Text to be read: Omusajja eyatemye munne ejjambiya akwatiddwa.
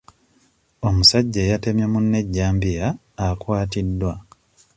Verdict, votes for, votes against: accepted, 2, 0